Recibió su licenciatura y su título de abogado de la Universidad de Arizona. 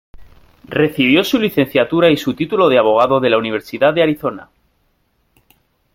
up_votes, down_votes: 2, 1